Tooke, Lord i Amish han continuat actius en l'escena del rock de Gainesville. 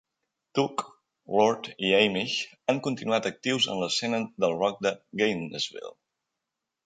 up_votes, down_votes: 1, 2